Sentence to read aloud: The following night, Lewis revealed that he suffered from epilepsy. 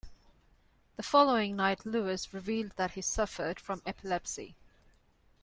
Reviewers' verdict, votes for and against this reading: accepted, 2, 0